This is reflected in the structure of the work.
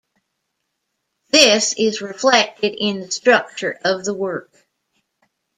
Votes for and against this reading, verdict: 2, 0, accepted